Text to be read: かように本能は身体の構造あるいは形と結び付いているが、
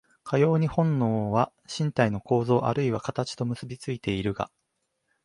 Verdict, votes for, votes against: accepted, 2, 1